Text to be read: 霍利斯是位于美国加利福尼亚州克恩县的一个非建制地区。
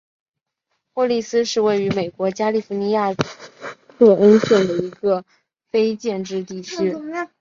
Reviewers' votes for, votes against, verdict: 0, 2, rejected